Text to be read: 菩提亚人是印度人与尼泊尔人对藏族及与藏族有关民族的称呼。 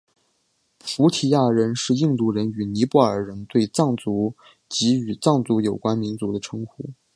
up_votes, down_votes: 3, 0